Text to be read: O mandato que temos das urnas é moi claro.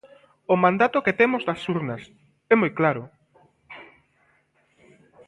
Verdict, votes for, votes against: rejected, 1, 2